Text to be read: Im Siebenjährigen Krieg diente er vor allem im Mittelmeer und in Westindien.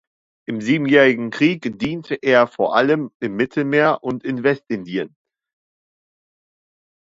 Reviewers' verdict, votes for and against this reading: accepted, 2, 0